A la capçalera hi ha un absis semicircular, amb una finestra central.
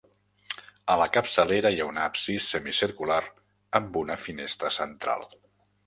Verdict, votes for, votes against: accepted, 2, 0